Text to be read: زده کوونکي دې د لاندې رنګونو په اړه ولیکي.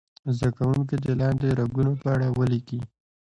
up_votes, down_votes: 2, 1